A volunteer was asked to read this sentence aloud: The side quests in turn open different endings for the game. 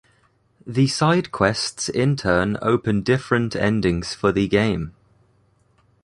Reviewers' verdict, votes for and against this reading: accepted, 2, 1